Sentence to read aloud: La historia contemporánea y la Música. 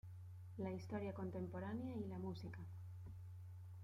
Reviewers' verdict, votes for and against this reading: accepted, 2, 0